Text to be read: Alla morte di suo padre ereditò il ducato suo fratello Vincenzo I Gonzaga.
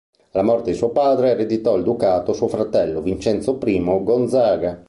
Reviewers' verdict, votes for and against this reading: rejected, 0, 2